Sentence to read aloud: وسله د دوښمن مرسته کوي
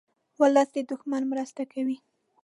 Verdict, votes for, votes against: rejected, 0, 2